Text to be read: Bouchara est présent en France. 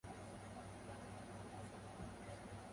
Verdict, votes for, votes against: rejected, 0, 2